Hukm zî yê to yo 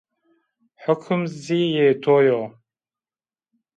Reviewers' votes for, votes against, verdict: 2, 1, accepted